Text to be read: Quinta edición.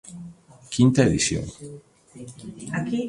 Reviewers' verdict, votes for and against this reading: rejected, 1, 2